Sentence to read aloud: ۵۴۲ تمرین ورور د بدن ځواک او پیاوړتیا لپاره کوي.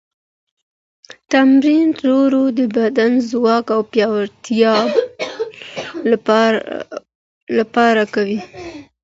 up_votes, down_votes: 0, 2